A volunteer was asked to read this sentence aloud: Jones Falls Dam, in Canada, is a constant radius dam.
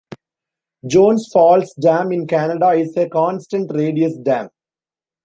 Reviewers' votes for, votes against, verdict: 2, 0, accepted